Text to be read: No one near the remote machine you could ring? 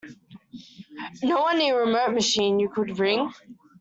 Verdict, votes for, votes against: rejected, 1, 2